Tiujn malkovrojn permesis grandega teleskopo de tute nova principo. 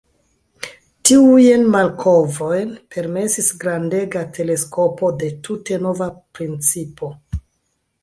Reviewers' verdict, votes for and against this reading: accepted, 2, 1